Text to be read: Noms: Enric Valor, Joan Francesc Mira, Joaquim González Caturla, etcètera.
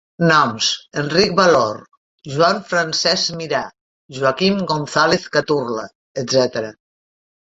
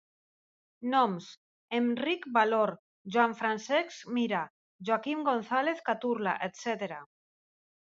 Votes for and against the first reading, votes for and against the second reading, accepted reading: 0, 2, 2, 0, second